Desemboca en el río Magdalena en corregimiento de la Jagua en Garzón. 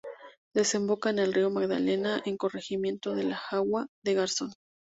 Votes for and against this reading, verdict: 0, 2, rejected